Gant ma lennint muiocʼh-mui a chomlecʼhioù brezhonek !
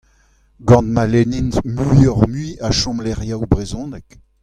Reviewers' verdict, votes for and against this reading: accepted, 2, 1